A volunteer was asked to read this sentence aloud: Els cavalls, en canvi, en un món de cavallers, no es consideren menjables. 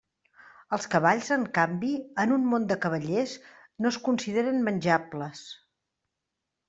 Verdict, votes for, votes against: accepted, 3, 0